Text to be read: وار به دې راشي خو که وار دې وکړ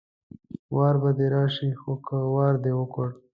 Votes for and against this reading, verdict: 2, 0, accepted